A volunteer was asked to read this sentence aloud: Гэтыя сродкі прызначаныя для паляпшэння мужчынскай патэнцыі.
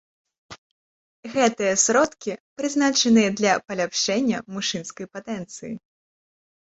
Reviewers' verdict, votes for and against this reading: accepted, 2, 1